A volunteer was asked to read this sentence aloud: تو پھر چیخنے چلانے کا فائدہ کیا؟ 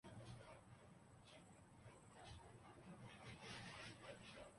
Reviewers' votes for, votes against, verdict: 0, 2, rejected